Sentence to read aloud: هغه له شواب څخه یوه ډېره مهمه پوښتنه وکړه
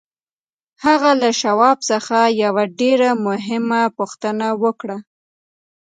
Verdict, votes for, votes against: accepted, 2, 0